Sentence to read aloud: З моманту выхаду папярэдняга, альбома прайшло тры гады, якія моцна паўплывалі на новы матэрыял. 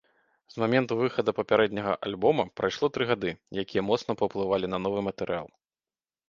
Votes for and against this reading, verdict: 0, 2, rejected